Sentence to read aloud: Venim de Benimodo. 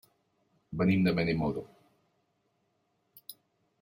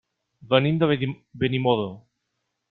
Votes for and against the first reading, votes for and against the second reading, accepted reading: 3, 0, 1, 2, first